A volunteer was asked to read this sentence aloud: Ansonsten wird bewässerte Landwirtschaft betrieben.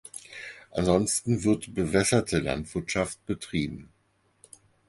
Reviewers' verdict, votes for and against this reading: accepted, 4, 0